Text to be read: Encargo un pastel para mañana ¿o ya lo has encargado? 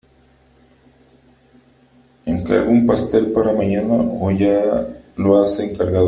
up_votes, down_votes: 2, 1